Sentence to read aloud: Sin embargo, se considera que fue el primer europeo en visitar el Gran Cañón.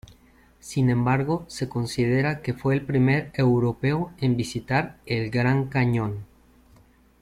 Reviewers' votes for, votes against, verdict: 2, 0, accepted